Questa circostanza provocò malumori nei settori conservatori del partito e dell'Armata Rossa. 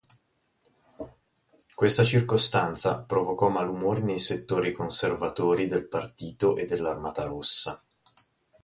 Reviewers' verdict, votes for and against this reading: accepted, 2, 0